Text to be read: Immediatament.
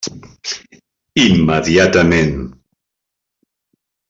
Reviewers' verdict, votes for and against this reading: accepted, 3, 0